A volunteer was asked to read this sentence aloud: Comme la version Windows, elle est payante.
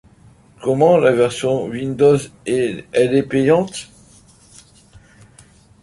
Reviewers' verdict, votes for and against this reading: rejected, 1, 2